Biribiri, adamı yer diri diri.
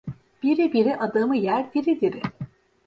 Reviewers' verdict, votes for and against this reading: accepted, 2, 0